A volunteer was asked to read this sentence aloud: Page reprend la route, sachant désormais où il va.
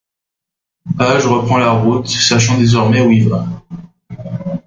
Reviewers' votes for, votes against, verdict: 1, 2, rejected